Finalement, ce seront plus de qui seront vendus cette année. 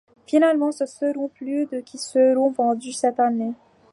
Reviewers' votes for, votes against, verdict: 2, 1, accepted